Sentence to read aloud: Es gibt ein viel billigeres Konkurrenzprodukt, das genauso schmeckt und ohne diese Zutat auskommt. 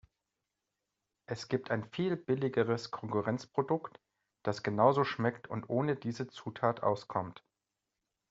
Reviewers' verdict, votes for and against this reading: accepted, 2, 0